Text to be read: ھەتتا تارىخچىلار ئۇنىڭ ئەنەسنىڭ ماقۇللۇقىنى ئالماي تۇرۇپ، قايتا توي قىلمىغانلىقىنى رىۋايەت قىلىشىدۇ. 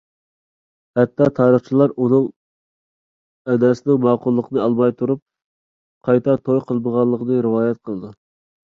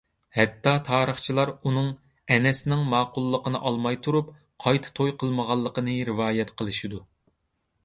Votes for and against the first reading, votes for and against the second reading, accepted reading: 0, 2, 2, 0, second